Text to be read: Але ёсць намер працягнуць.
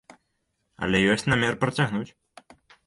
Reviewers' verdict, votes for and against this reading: accepted, 2, 1